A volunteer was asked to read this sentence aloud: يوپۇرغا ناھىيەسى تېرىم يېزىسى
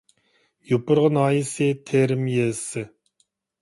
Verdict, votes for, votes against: accepted, 2, 0